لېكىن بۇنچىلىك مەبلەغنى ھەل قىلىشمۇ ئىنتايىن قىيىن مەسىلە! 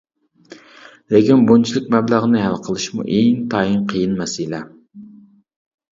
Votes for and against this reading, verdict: 2, 0, accepted